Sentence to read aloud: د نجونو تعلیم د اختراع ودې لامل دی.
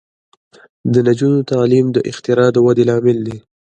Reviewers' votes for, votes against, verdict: 2, 0, accepted